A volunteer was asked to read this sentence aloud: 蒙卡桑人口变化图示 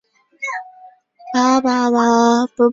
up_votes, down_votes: 1, 2